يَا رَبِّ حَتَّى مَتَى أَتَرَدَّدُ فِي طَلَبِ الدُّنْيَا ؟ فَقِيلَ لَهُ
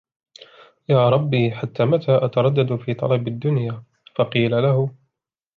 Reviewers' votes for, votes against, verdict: 2, 0, accepted